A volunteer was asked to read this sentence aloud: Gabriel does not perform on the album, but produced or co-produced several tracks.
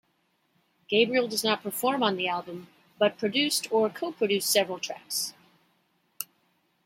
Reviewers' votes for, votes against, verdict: 2, 0, accepted